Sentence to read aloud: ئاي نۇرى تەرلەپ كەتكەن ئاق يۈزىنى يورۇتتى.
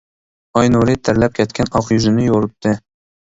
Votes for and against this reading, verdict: 2, 0, accepted